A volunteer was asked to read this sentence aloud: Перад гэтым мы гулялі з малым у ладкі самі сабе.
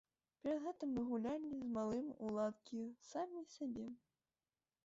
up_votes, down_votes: 1, 2